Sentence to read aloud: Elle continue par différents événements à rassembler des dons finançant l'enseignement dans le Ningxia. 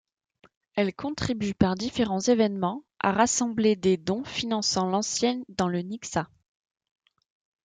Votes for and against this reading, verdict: 0, 2, rejected